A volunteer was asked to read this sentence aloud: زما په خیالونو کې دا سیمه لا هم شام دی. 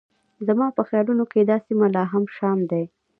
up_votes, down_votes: 1, 2